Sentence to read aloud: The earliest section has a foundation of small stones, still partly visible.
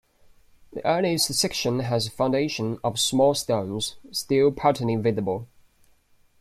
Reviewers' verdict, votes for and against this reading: accepted, 2, 1